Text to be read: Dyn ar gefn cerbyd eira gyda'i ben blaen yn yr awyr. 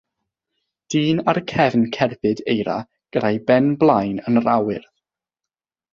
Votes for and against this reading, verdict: 3, 3, rejected